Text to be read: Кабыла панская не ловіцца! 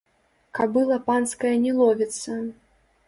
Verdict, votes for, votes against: rejected, 0, 2